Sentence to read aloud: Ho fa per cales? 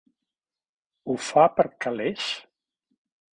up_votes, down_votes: 1, 3